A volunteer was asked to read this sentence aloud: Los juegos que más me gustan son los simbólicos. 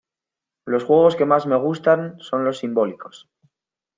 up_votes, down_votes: 2, 0